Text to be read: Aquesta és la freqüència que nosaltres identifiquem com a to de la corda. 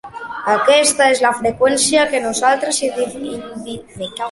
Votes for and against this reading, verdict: 0, 2, rejected